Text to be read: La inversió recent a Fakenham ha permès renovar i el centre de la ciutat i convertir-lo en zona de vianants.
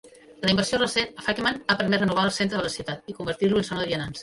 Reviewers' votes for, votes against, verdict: 1, 2, rejected